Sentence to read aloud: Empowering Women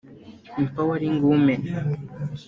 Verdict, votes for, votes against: rejected, 0, 2